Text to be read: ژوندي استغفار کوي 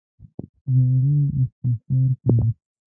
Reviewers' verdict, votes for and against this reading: rejected, 1, 2